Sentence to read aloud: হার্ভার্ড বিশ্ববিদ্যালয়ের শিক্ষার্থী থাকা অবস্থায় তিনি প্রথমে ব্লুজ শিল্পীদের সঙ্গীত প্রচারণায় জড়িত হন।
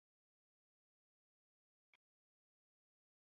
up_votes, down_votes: 0, 2